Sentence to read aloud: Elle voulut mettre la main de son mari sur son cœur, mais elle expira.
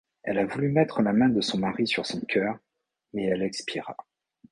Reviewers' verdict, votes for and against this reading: rejected, 2, 3